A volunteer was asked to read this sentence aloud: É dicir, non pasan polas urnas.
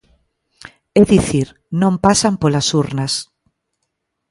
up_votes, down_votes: 2, 0